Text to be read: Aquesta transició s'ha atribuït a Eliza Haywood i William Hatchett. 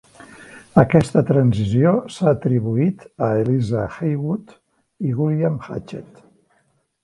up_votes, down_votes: 2, 0